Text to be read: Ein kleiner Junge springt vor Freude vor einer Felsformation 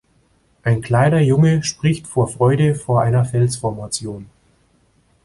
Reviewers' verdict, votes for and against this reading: rejected, 0, 2